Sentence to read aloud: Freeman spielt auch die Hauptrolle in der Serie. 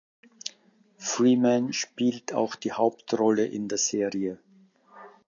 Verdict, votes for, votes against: accepted, 2, 0